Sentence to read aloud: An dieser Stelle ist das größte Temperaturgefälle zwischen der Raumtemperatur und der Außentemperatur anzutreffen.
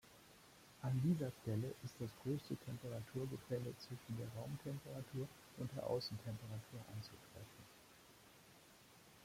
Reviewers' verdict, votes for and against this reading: rejected, 1, 2